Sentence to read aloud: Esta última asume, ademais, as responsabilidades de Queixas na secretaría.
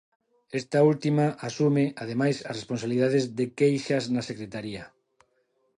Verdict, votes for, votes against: accepted, 2, 0